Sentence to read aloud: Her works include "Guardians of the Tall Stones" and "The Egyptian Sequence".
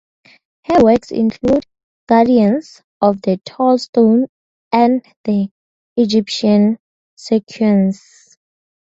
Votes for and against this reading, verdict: 0, 2, rejected